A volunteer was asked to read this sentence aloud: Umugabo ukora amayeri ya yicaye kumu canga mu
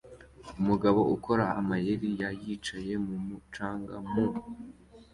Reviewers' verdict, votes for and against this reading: accepted, 3, 0